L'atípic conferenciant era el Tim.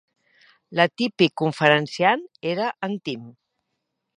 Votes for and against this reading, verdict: 1, 2, rejected